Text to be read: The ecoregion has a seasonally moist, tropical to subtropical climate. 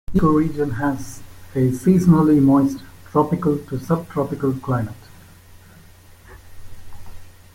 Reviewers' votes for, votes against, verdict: 1, 2, rejected